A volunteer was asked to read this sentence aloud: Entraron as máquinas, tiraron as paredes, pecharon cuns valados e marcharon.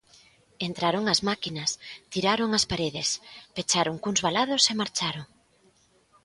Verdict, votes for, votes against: rejected, 1, 2